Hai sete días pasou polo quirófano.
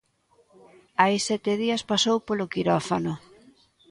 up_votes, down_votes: 2, 0